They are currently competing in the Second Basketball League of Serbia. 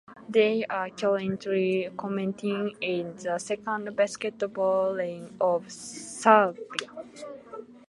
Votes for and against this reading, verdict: 0, 2, rejected